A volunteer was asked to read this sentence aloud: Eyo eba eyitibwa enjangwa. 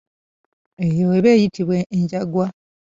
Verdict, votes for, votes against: rejected, 1, 2